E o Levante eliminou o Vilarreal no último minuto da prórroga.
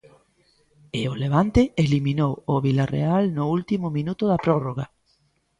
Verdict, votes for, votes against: accepted, 2, 0